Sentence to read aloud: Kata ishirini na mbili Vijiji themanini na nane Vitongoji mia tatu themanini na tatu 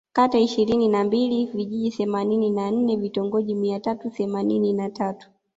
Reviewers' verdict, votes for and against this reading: rejected, 0, 2